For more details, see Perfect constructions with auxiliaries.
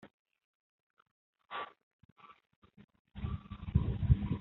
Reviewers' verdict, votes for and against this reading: rejected, 0, 2